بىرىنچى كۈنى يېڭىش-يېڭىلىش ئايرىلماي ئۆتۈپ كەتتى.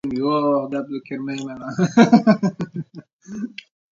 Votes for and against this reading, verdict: 0, 2, rejected